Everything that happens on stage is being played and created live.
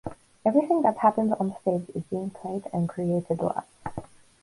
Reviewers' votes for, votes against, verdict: 2, 2, rejected